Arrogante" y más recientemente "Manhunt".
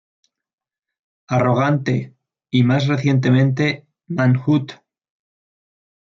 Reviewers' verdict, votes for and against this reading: accepted, 2, 0